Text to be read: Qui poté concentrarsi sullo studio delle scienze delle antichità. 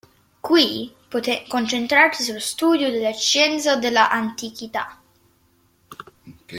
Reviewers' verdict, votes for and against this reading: rejected, 0, 2